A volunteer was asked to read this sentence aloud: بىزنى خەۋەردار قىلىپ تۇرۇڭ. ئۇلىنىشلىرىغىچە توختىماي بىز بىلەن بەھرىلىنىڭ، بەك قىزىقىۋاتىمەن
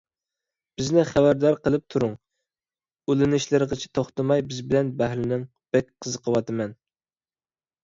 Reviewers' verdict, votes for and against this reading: accepted, 2, 0